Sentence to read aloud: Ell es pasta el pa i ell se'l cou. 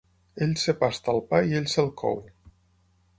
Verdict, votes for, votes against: rejected, 0, 6